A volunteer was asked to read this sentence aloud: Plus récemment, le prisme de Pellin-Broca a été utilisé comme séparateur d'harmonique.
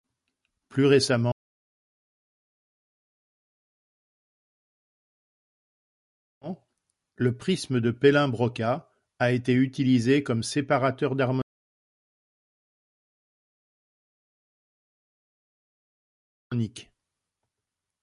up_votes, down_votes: 0, 2